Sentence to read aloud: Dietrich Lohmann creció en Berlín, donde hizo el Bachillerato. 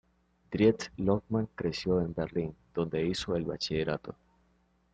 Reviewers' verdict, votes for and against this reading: rejected, 1, 2